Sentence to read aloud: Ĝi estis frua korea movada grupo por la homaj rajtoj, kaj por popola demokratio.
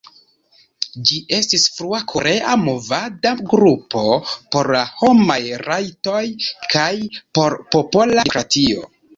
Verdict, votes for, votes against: rejected, 0, 2